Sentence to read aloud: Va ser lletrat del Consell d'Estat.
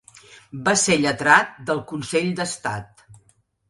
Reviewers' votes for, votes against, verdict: 2, 0, accepted